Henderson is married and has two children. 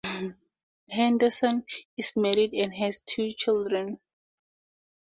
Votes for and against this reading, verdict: 4, 0, accepted